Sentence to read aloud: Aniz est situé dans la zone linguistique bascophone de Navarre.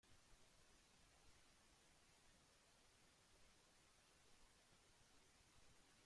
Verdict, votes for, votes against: rejected, 0, 2